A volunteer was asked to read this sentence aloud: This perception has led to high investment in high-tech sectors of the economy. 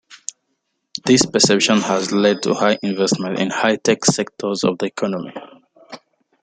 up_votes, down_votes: 2, 1